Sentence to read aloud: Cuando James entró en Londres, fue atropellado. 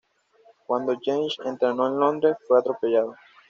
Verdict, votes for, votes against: accepted, 2, 1